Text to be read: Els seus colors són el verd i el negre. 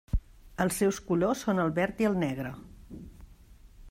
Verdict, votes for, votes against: accepted, 2, 0